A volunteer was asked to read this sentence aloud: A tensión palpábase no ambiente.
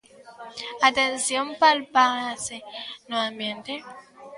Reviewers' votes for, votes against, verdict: 0, 2, rejected